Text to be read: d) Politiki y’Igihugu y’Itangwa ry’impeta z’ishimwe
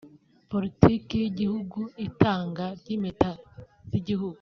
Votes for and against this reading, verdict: 1, 2, rejected